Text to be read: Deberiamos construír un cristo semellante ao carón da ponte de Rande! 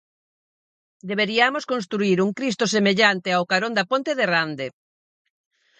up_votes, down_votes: 4, 0